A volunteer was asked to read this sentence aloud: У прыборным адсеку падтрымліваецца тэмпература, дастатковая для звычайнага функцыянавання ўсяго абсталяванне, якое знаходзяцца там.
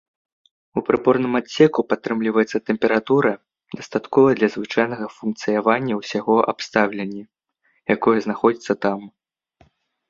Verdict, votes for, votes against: rejected, 0, 2